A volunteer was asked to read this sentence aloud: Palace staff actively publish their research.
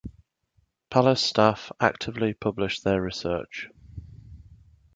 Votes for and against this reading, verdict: 2, 0, accepted